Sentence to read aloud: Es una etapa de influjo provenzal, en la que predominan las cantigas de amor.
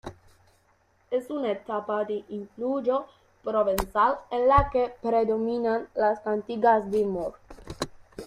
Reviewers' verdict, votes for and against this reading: rejected, 1, 2